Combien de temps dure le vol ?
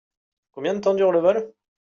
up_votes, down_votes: 2, 0